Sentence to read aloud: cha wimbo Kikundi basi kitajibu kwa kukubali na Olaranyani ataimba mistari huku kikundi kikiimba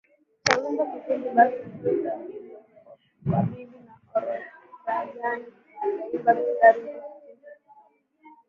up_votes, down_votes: 0, 2